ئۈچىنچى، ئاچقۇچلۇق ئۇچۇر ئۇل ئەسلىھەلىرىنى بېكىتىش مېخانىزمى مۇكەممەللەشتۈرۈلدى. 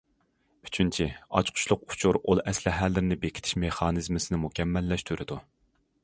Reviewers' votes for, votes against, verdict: 1, 2, rejected